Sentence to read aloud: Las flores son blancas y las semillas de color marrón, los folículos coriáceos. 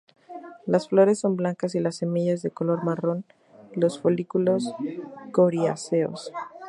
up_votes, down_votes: 0, 2